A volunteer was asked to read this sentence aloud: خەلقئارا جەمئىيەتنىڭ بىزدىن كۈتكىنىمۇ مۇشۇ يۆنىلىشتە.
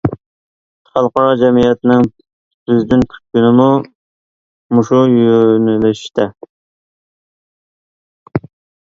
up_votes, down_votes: 1, 2